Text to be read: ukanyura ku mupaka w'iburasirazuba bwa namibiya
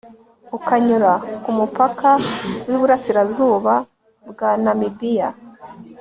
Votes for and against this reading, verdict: 2, 0, accepted